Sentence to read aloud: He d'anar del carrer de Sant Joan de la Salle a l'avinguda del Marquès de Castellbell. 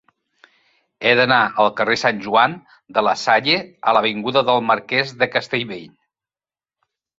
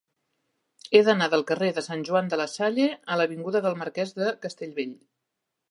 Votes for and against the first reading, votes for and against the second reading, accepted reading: 0, 3, 3, 0, second